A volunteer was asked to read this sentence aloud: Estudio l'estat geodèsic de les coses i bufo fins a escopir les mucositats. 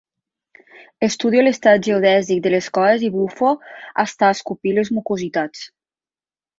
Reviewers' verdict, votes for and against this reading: rejected, 0, 2